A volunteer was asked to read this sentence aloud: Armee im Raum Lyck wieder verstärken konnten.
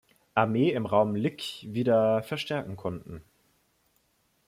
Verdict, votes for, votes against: accepted, 2, 0